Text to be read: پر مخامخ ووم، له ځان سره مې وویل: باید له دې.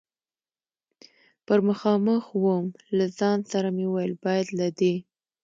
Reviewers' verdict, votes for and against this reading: accepted, 2, 0